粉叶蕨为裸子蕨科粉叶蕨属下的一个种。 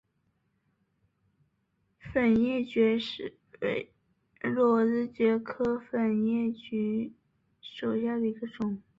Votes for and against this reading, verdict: 1, 2, rejected